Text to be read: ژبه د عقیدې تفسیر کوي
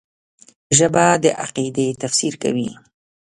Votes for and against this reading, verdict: 0, 2, rejected